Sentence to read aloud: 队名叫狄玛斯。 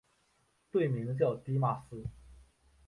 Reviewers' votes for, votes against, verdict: 6, 0, accepted